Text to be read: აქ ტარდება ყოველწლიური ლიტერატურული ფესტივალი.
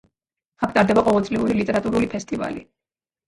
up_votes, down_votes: 0, 2